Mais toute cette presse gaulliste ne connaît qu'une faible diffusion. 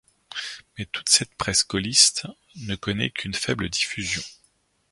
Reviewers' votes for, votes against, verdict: 2, 0, accepted